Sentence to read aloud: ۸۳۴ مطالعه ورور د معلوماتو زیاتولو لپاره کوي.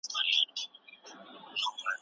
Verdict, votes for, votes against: rejected, 0, 2